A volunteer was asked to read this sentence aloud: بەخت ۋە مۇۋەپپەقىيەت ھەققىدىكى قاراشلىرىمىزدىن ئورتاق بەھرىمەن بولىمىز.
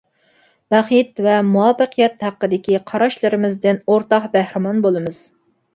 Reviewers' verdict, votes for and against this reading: accepted, 2, 0